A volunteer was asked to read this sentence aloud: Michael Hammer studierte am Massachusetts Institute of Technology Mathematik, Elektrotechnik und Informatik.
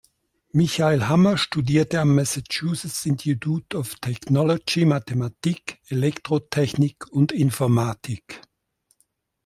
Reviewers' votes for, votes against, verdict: 1, 2, rejected